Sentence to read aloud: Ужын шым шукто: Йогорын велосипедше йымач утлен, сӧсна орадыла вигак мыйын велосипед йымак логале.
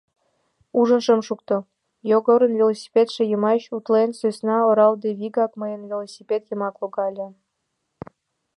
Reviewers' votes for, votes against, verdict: 0, 2, rejected